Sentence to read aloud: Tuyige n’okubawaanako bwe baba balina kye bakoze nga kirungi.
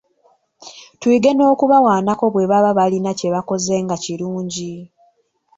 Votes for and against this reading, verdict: 0, 2, rejected